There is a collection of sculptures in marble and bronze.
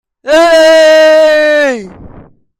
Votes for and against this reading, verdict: 0, 2, rejected